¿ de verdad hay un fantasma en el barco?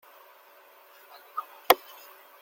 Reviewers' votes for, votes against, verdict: 0, 2, rejected